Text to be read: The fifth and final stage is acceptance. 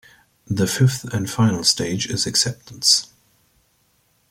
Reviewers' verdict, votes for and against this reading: accepted, 2, 0